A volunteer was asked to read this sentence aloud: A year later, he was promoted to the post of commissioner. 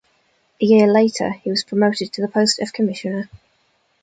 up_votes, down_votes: 2, 0